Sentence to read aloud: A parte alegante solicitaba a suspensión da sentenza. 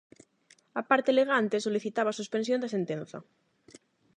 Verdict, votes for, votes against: accepted, 8, 0